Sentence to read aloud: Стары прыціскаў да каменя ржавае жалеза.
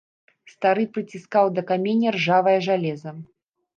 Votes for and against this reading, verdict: 1, 2, rejected